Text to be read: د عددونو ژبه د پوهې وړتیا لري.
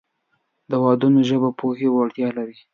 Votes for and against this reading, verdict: 2, 1, accepted